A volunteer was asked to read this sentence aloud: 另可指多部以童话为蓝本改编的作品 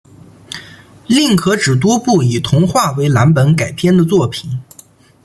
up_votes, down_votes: 1, 2